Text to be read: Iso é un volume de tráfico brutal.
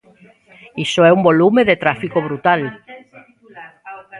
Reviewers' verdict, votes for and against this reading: rejected, 0, 2